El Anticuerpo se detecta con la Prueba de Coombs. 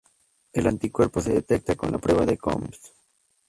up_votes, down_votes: 0, 2